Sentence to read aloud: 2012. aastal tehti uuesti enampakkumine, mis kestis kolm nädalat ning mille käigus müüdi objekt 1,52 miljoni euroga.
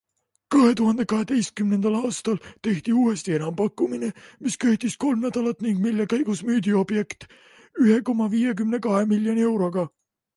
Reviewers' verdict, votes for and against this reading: rejected, 0, 2